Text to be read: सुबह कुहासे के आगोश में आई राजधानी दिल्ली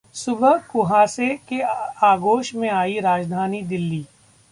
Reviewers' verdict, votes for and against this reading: rejected, 1, 2